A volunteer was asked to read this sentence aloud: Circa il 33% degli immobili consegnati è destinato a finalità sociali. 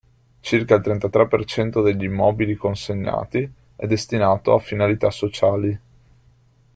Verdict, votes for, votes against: rejected, 0, 2